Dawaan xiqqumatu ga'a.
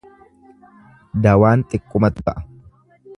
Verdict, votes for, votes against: rejected, 0, 2